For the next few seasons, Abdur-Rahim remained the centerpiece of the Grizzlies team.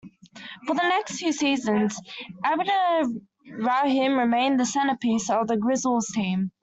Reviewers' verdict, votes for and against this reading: rejected, 0, 2